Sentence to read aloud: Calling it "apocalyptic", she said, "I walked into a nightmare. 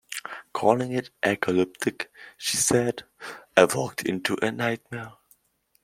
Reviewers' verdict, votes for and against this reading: rejected, 1, 2